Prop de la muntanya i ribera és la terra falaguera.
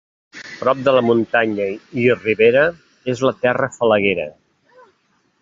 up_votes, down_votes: 1, 2